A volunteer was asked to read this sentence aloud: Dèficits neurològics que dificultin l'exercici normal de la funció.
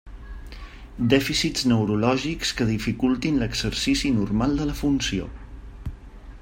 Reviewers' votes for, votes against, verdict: 3, 0, accepted